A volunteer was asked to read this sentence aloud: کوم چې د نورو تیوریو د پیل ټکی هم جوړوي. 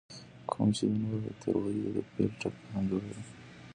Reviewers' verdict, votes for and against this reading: rejected, 1, 2